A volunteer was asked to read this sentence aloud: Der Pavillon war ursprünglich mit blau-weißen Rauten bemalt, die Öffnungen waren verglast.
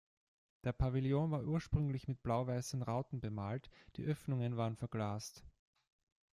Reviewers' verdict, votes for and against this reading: accepted, 2, 1